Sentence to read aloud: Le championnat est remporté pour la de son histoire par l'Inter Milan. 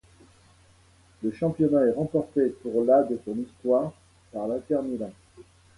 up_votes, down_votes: 2, 0